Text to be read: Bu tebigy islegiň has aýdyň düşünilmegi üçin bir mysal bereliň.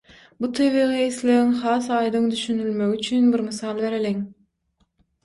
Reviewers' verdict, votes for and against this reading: accepted, 6, 0